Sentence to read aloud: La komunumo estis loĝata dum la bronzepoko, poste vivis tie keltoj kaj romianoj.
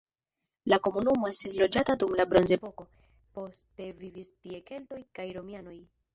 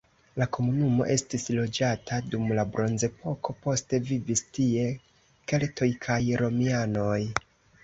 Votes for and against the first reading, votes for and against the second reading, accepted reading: 1, 2, 2, 0, second